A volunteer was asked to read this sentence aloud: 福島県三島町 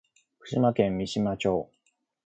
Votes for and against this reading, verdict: 2, 1, accepted